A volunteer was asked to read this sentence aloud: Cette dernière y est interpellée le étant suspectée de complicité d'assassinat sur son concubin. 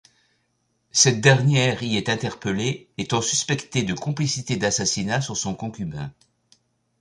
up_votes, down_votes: 1, 2